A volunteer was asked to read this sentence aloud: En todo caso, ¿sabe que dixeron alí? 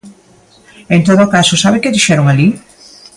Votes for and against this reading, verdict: 2, 0, accepted